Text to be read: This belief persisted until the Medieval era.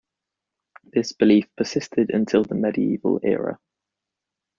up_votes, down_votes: 2, 0